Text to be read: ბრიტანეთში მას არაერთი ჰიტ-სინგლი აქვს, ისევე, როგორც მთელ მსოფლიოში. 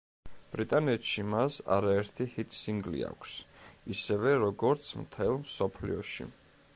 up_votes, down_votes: 2, 0